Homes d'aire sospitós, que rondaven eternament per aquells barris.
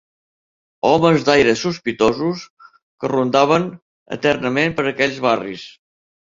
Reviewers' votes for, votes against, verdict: 1, 2, rejected